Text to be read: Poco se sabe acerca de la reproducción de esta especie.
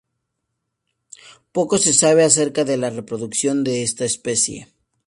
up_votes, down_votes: 2, 0